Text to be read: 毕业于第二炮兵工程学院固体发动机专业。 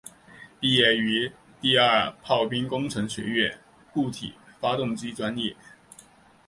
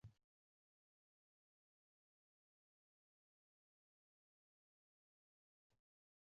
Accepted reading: first